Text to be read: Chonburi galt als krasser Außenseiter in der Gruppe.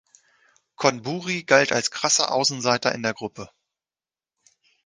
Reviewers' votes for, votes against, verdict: 1, 2, rejected